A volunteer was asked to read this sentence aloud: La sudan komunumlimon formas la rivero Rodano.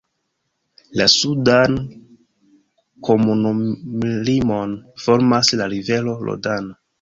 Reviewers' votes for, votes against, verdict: 1, 2, rejected